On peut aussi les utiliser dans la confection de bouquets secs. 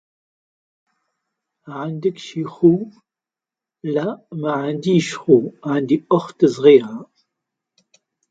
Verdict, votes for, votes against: rejected, 0, 2